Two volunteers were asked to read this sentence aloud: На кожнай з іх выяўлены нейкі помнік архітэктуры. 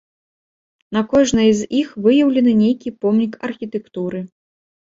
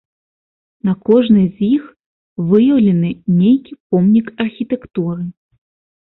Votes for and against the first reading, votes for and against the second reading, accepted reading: 1, 2, 2, 0, second